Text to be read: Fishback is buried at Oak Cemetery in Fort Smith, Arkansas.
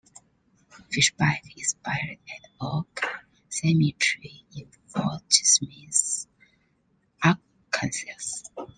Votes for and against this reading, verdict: 0, 2, rejected